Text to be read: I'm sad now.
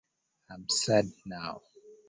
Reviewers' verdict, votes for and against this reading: rejected, 1, 2